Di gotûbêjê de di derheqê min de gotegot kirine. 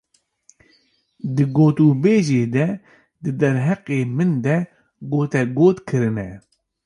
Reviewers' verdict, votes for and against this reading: accepted, 2, 0